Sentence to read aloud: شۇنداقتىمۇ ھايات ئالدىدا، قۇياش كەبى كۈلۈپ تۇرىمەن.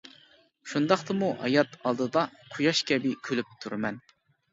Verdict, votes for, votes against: accepted, 2, 0